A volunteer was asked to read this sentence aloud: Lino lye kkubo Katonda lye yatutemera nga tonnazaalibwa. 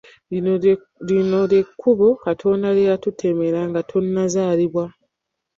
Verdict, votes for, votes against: rejected, 1, 2